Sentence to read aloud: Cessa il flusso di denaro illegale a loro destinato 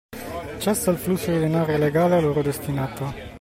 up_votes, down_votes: 2, 0